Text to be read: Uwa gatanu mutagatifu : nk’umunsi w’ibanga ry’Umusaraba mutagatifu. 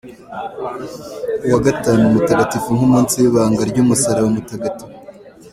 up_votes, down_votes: 2, 1